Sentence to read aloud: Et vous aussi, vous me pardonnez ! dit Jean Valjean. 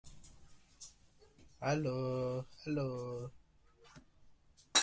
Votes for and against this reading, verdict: 0, 2, rejected